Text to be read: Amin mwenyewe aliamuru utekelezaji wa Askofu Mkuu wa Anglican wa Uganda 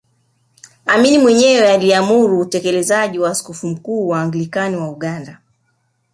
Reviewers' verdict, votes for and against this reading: accepted, 5, 0